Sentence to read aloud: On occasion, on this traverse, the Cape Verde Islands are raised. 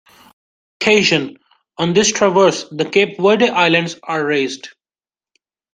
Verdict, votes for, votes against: rejected, 1, 2